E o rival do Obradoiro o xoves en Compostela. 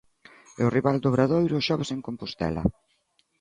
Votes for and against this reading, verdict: 2, 0, accepted